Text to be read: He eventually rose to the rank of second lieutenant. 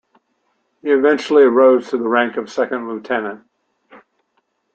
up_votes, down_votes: 2, 0